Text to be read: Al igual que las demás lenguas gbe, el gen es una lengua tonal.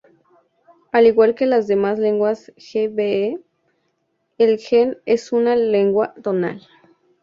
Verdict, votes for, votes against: accepted, 2, 0